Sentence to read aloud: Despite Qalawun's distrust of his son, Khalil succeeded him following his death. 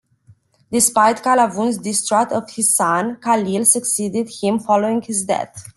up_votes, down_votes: 2, 0